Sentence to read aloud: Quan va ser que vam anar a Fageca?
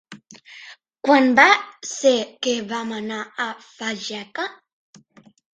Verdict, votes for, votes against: accepted, 3, 1